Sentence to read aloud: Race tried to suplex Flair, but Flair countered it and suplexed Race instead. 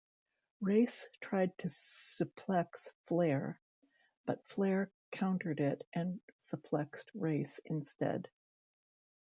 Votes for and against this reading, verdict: 2, 0, accepted